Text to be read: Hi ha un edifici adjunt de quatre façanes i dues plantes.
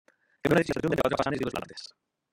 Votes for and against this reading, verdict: 0, 2, rejected